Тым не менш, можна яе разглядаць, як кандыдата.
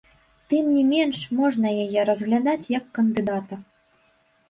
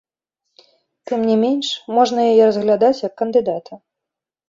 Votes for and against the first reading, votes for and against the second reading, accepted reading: 0, 2, 3, 0, second